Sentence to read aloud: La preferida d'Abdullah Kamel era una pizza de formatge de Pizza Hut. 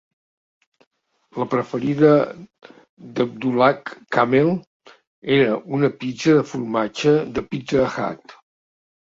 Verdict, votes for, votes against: accepted, 2, 1